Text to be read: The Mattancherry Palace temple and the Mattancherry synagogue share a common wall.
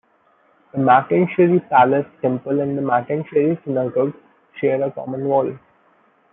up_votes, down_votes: 1, 2